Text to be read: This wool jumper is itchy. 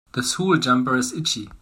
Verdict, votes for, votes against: rejected, 0, 2